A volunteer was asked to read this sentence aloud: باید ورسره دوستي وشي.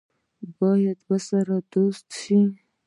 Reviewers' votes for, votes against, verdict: 0, 2, rejected